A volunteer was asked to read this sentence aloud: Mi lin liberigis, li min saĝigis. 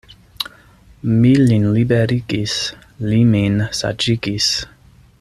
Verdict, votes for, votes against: accepted, 2, 0